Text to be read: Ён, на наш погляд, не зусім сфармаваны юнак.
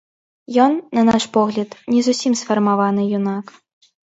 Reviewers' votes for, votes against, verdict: 2, 0, accepted